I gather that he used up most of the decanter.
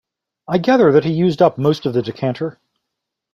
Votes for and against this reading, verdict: 2, 0, accepted